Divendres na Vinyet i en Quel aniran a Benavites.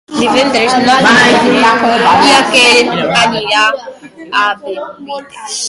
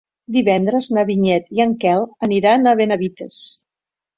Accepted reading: second